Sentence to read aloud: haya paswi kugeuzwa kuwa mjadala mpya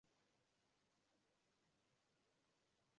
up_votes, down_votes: 1, 10